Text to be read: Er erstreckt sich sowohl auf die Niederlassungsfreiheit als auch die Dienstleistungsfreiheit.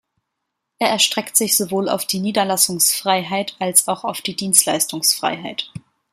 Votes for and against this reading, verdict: 2, 0, accepted